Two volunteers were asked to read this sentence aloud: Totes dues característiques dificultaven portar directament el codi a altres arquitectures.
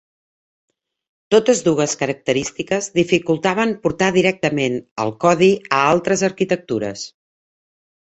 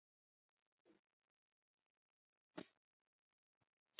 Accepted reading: first